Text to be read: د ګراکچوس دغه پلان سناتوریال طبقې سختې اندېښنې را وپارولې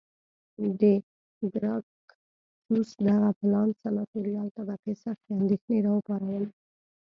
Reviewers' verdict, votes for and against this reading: rejected, 0, 2